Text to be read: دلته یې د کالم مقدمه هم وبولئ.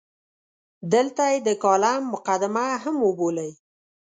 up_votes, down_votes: 2, 0